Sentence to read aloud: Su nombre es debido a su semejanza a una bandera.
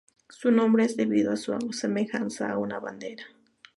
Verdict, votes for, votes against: accepted, 2, 0